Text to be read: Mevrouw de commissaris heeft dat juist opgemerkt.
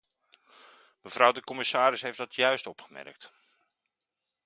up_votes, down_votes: 2, 0